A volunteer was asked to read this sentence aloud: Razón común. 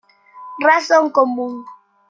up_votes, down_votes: 2, 1